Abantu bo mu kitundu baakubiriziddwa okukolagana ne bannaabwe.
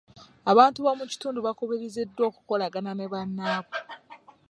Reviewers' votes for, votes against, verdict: 0, 2, rejected